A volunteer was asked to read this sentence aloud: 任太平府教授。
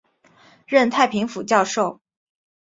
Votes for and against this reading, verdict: 3, 0, accepted